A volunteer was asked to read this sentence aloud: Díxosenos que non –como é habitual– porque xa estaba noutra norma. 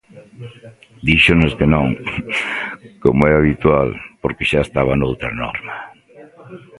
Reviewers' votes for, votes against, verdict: 0, 2, rejected